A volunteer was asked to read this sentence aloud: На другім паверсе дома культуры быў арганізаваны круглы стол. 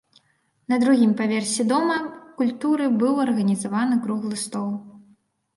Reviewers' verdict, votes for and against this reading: rejected, 1, 2